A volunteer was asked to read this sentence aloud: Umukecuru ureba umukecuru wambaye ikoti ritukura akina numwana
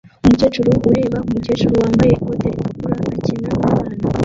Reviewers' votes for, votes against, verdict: 0, 2, rejected